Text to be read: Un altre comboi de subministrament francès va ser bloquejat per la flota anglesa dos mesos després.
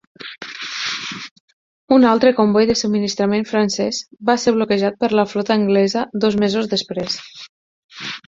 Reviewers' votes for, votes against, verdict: 2, 6, rejected